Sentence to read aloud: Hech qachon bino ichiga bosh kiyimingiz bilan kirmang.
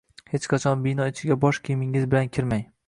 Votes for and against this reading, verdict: 2, 0, accepted